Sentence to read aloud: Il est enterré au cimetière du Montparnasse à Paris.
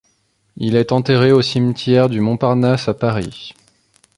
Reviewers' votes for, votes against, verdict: 2, 0, accepted